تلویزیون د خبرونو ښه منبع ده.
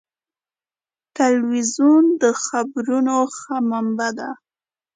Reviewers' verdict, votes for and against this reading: accepted, 2, 0